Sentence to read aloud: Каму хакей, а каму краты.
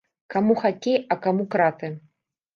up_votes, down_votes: 2, 0